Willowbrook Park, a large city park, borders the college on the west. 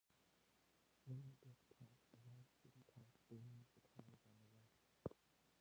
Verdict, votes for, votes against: rejected, 1, 2